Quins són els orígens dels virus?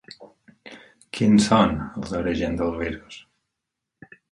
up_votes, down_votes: 0, 4